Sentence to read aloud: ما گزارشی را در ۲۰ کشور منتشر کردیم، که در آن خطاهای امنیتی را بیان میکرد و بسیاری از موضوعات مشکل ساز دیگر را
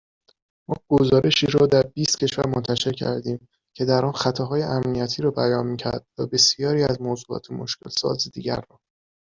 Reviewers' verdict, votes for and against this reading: rejected, 0, 2